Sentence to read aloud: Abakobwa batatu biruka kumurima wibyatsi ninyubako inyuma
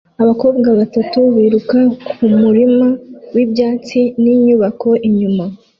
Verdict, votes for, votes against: accepted, 2, 0